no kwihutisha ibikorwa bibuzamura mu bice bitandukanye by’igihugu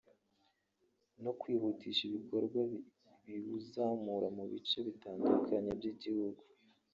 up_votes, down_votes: 0, 2